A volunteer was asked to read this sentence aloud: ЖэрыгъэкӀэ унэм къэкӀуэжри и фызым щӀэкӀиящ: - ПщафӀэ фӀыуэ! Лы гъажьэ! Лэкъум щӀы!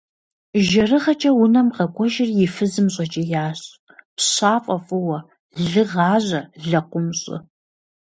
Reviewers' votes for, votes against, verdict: 2, 0, accepted